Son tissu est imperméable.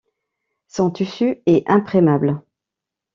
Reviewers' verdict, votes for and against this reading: rejected, 0, 2